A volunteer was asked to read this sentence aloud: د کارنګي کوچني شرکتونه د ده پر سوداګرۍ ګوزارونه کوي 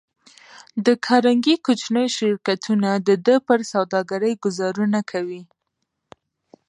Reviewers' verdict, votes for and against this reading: rejected, 1, 2